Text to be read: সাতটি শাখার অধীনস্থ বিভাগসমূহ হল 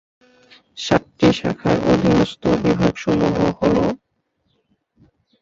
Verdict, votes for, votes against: rejected, 1, 2